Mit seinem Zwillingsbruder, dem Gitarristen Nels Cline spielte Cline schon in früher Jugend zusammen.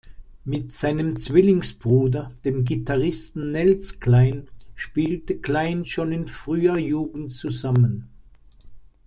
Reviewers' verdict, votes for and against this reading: accepted, 2, 0